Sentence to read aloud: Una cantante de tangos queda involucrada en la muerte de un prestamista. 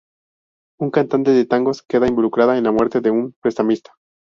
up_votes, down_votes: 2, 2